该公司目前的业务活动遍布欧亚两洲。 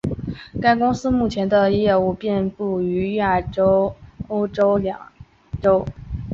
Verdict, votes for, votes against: rejected, 1, 3